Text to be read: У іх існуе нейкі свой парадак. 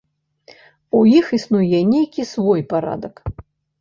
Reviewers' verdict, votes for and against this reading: accepted, 2, 0